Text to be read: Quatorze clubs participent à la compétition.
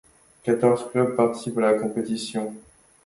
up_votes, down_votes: 2, 0